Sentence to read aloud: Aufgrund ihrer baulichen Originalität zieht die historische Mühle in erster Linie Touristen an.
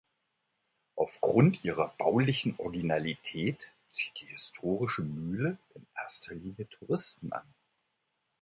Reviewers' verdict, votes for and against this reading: accepted, 2, 0